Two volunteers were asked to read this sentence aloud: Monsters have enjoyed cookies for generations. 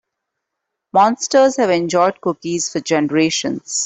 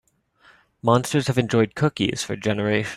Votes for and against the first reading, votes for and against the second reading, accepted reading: 2, 0, 2, 3, first